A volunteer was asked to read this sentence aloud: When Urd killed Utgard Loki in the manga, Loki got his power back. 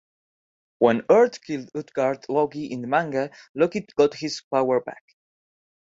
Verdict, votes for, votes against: accepted, 2, 0